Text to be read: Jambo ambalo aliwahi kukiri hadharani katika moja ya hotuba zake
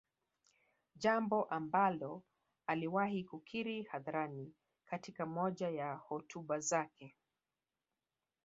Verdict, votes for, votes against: accepted, 4, 0